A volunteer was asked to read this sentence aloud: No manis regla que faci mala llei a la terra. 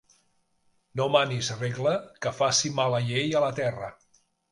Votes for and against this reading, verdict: 1, 2, rejected